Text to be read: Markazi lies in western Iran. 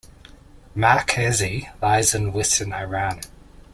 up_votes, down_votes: 2, 1